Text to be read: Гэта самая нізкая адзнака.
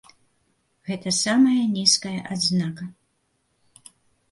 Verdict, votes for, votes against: accepted, 2, 0